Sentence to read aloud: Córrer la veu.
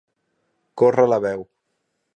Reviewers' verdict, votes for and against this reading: accepted, 2, 0